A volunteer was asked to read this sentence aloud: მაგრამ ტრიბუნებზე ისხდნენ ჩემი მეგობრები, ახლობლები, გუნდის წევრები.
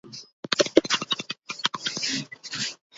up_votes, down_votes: 2, 1